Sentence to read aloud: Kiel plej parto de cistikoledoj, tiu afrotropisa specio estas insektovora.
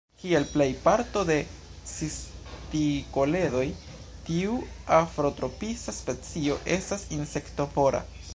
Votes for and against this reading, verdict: 0, 2, rejected